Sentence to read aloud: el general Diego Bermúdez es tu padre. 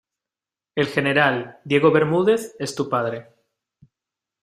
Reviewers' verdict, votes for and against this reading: accepted, 2, 0